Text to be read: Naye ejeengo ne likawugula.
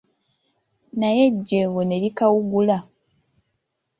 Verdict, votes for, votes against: accepted, 2, 0